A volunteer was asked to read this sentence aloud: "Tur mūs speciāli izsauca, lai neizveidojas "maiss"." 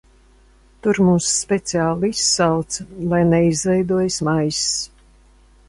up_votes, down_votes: 2, 0